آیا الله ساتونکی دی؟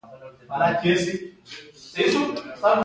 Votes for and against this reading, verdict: 1, 2, rejected